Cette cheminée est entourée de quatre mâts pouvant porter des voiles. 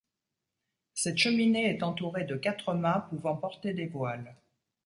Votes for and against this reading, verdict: 2, 0, accepted